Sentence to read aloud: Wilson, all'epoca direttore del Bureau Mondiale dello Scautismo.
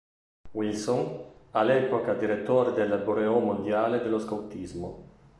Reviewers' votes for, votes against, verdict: 0, 2, rejected